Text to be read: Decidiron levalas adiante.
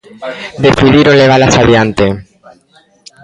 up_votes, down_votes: 1, 2